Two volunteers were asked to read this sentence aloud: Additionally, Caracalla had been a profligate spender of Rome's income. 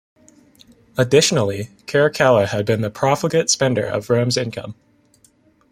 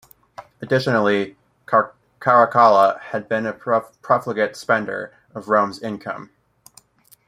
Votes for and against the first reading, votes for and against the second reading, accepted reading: 2, 1, 1, 2, first